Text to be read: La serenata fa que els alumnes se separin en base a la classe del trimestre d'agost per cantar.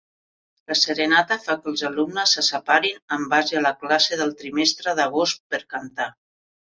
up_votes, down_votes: 5, 0